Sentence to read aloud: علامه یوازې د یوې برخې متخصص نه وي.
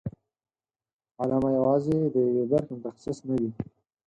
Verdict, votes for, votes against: accepted, 4, 0